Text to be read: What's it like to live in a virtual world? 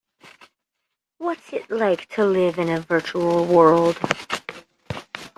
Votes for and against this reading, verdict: 0, 2, rejected